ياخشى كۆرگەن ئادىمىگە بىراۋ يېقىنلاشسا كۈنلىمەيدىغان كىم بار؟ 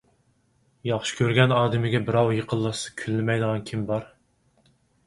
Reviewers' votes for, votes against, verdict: 4, 0, accepted